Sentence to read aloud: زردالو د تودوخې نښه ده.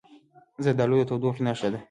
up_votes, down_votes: 2, 1